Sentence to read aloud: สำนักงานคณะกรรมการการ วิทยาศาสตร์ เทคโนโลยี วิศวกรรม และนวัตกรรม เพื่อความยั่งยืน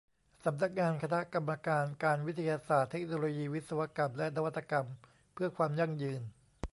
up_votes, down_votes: 2, 0